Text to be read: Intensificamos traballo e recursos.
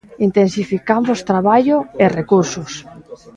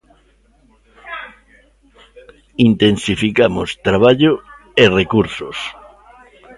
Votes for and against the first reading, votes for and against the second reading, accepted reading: 2, 0, 1, 2, first